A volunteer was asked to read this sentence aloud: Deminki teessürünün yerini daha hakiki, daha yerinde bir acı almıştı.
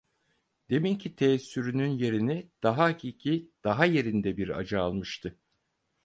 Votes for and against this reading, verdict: 4, 0, accepted